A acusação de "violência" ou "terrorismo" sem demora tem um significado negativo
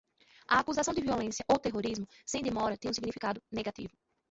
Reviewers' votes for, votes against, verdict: 2, 0, accepted